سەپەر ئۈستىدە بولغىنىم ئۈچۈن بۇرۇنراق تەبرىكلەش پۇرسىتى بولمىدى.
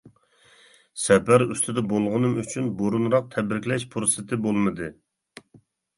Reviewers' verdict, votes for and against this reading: accepted, 2, 0